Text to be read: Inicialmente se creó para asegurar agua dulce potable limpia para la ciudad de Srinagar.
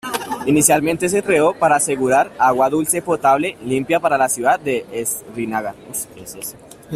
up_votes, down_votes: 0, 2